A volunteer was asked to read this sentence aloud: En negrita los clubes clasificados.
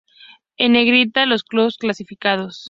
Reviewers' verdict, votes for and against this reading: rejected, 0, 2